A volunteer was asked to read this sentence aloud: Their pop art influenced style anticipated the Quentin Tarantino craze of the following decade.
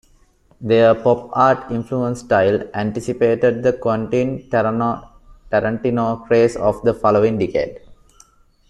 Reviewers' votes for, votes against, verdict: 0, 2, rejected